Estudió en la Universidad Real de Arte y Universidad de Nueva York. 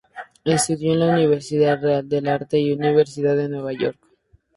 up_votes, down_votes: 2, 0